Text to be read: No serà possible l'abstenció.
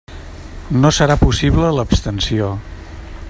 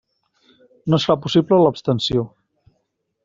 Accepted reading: first